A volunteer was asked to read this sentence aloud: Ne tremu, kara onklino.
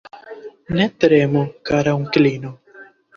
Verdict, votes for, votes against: accepted, 3, 0